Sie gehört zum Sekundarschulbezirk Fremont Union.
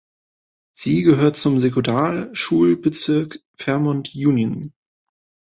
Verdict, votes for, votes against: rejected, 0, 2